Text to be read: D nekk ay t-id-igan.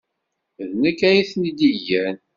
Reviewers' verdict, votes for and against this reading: rejected, 1, 2